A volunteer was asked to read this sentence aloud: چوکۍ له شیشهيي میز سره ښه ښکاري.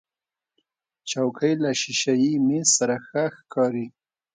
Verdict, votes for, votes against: accepted, 2, 0